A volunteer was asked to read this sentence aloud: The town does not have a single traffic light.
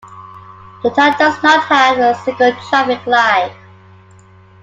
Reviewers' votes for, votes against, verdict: 2, 0, accepted